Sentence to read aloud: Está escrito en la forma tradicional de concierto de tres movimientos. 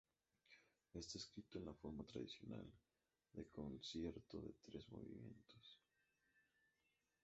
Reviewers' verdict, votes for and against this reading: accepted, 2, 0